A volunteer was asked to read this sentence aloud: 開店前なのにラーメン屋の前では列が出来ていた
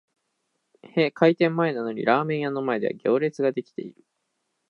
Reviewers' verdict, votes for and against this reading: rejected, 0, 2